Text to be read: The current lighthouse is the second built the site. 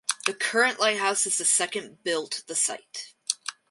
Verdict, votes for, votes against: rejected, 2, 2